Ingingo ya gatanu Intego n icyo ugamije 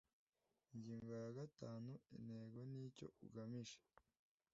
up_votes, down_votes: 1, 2